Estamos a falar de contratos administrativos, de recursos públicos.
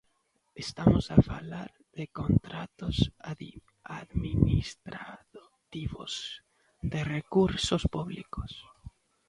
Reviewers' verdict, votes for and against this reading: rejected, 0, 2